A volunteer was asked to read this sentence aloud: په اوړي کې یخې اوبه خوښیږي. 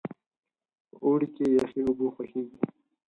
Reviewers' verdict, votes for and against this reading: rejected, 2, 4